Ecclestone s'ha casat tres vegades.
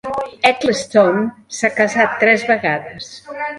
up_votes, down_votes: 0, 2